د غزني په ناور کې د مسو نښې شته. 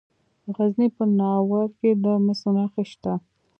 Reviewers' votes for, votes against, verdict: 2, 1, accepted